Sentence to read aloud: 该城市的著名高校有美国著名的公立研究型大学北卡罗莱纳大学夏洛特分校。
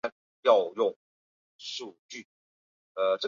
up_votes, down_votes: 0, 3